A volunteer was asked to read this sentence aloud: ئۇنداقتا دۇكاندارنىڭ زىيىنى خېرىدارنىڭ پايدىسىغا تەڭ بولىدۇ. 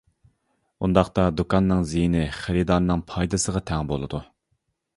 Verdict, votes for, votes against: rejected, 0, 2